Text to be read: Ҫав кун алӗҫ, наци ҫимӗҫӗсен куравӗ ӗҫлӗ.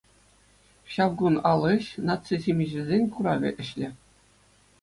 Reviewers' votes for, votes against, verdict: 2, 0, accepted